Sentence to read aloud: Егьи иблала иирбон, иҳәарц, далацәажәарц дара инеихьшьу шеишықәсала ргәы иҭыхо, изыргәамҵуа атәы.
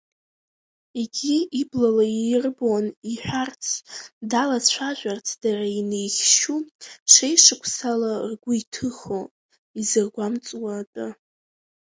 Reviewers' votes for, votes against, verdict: 0, 2, rejected